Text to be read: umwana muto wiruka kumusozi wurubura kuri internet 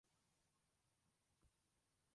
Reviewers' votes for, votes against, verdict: 0, 3, rejected